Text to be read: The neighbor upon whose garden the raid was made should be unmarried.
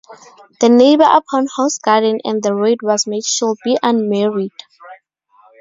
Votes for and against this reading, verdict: 2, 2, rejected